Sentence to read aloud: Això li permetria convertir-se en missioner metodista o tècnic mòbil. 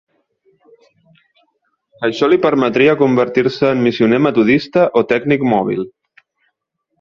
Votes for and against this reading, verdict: 3, 0, accepted